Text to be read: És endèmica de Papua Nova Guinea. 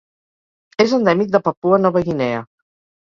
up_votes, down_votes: 2, 4